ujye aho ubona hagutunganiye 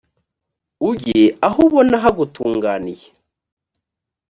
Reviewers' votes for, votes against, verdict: 2, 0, accepted